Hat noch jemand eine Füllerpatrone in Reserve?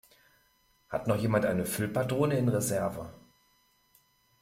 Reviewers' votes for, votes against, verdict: 0, 2, rejected